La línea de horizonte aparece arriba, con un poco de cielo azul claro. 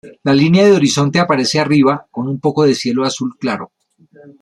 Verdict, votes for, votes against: accepted, 2, 0